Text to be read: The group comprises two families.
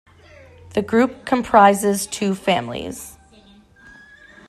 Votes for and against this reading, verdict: 2, 0, accepted